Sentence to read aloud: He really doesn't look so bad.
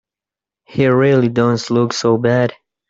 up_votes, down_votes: 0, 2